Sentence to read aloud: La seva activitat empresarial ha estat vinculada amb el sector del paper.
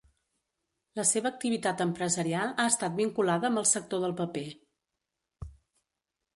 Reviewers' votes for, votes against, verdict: 2, 0, accepted